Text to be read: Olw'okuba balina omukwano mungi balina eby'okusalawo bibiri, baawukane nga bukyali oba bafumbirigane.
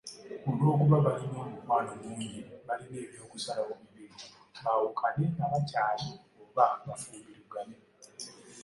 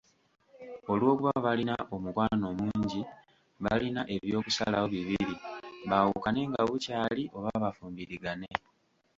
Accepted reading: first